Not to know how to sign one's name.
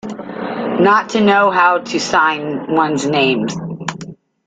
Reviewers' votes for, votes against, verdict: 1, 2, rejected